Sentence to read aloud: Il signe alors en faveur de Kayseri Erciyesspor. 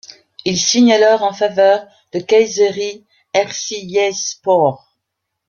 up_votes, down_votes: 2, 1